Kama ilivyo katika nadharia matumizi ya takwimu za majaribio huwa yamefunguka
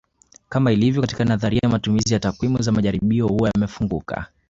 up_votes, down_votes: 2, 1